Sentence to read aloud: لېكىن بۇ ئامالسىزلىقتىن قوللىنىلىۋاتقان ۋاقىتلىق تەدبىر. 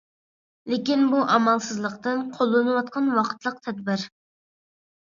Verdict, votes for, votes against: accepted, 2, 0